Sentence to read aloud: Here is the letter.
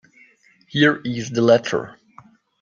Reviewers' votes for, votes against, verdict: 2, 0, accepted